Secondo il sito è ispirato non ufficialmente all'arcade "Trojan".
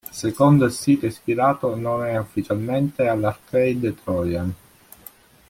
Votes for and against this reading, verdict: 1, 2, rejected